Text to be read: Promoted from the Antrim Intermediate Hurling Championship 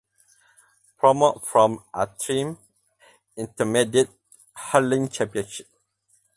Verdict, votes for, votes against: rejected, 2, 4